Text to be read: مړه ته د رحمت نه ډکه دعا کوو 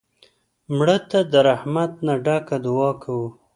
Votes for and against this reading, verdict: 2, 0, accepted